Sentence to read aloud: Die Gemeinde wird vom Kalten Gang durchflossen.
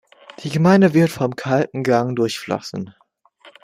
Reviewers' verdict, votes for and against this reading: accepted, 2, 0